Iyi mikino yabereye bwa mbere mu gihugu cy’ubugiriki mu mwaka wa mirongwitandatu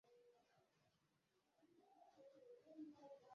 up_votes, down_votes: 0, 2